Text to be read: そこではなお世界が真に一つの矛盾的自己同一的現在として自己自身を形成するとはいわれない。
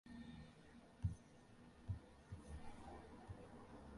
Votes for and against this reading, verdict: 0, 3, rejected